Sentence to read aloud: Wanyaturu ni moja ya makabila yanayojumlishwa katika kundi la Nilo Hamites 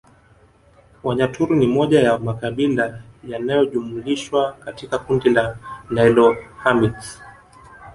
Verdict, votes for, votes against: rejected, 1, 2